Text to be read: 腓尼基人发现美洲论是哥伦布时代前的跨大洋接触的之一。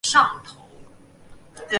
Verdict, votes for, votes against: rejected, 0, 2